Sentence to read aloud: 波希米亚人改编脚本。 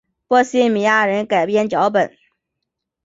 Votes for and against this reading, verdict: 8, 0, accepted